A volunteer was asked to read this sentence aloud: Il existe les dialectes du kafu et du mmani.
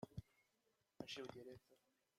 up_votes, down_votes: 0, 2